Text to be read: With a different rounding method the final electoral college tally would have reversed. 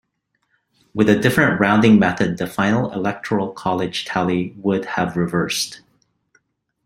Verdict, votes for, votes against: accepted, 2, 0